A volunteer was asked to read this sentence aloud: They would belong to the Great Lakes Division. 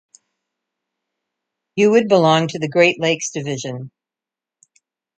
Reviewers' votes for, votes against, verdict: 1, 2, rejected